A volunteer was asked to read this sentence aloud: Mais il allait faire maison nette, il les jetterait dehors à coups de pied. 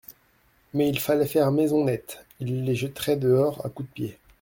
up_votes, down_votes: 1, 2